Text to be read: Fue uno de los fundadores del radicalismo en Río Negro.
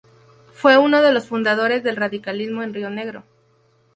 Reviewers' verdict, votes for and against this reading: rejected, 2, 2